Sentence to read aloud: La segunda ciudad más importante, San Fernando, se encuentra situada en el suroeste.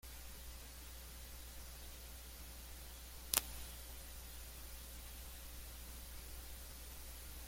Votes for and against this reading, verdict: 0, 2, rejected